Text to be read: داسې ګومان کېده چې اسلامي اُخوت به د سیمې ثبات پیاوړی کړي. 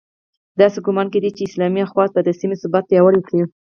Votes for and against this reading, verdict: 0, 4, rejected